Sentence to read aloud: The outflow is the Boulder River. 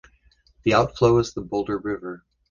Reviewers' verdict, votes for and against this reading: accepted, 2, 0